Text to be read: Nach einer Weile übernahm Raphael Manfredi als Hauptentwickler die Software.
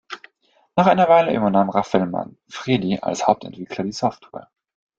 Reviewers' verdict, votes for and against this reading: accepted, 2, 1